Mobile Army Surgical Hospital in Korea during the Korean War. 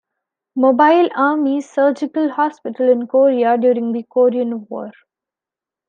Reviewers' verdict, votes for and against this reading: accepted, 2, 0